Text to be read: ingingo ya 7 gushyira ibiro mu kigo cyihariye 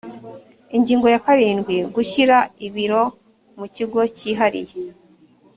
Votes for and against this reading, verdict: 0, 2, rejected